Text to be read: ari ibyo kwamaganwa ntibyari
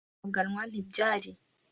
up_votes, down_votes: 0, 2